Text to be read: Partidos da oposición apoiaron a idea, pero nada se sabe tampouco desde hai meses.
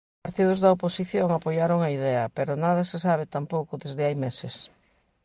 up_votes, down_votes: 2, 0